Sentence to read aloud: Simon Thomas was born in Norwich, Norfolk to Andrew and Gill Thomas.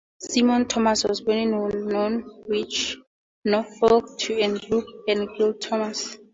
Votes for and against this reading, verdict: 2, 0, accepted